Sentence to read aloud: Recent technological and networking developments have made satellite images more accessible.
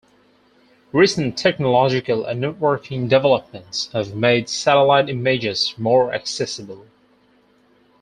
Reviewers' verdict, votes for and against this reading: accepted, 4, 0